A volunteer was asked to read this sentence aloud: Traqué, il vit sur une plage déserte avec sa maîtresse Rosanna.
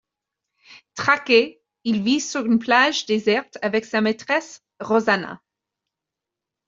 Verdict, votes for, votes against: accepted, 2, 0